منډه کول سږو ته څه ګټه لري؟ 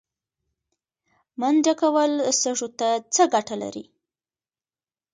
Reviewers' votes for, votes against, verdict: 2, 1, accepted